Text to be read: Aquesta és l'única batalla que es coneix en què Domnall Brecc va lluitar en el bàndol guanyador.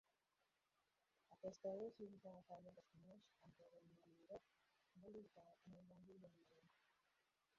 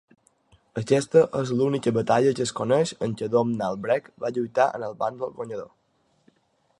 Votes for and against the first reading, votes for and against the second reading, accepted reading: 0, 2, 5, 0, second